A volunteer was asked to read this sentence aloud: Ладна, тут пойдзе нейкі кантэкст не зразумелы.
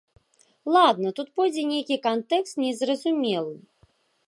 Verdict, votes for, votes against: accepted, 2, 0